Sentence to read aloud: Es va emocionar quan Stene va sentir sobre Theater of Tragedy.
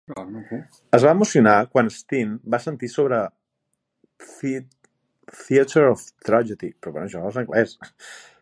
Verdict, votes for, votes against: rejected, 0, 2